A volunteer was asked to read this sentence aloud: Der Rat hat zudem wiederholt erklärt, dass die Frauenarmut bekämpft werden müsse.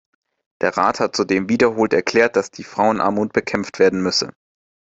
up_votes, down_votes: 2, 0